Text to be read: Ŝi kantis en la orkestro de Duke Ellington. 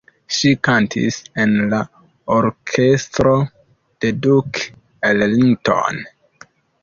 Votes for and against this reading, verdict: 2, 0, accepted